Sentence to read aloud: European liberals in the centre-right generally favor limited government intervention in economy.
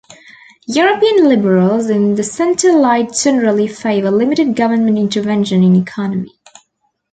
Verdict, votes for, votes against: accepted, 2, 0